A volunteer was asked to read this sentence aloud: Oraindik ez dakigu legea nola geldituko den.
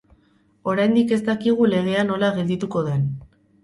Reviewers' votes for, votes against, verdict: 4, 0, accepted